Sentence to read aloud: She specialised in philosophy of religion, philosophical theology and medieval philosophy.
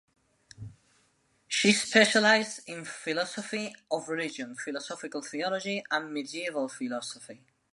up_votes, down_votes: 2, 0